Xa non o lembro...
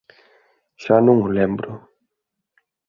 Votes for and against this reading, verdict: 2, 0, accepted